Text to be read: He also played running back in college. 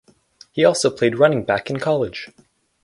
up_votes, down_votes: 4, 0